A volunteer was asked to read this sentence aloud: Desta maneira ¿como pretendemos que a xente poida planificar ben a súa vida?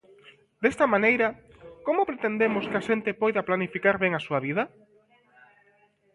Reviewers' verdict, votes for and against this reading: accepted, 2, 0